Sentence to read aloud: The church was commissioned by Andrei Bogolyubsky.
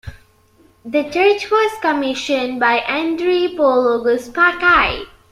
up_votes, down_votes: 0, 2